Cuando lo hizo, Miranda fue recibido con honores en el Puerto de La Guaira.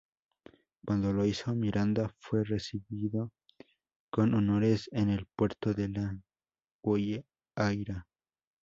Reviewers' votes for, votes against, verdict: 0, 2, rejected